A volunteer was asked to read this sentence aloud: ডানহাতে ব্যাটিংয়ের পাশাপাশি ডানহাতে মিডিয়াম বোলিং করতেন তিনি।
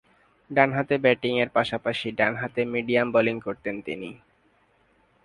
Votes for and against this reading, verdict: 3, 0, accepted